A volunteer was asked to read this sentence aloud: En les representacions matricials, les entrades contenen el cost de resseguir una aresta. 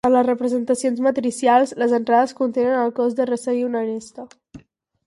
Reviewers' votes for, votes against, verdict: 2, 2, rejected